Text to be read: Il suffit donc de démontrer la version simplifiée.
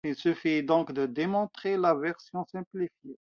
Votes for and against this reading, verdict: 2, 0, accepted